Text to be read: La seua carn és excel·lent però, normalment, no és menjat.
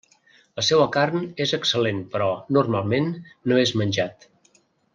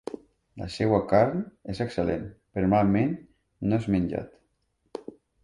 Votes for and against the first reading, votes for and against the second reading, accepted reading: 3, 0, 0, 2, first